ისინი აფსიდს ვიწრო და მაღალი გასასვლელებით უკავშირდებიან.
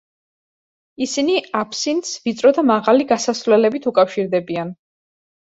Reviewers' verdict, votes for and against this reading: rejected, 1, 2